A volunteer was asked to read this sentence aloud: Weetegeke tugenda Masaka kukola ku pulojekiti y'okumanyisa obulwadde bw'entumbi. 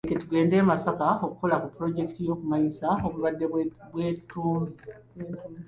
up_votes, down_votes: 0, 2